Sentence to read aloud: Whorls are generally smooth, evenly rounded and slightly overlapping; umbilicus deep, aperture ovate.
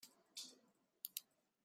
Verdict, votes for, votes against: rejected, 0, 2